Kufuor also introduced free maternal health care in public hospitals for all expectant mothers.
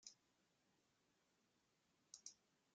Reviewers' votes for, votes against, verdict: 0, 2, rejected